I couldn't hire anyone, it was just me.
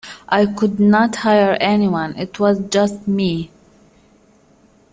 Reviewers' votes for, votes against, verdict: 1, 2, rejected